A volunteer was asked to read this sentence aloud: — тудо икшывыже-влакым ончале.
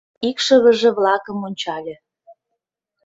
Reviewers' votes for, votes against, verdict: 0, 2, rejected